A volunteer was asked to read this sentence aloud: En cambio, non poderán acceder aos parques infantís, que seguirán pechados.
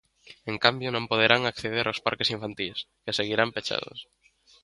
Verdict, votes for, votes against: accepted, 2, 0